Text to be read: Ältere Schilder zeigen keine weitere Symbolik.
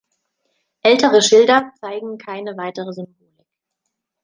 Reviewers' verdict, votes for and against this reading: rejected, 1, 2